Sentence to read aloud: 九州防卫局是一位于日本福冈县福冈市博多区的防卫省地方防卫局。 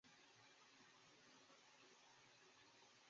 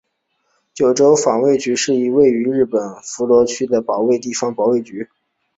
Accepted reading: second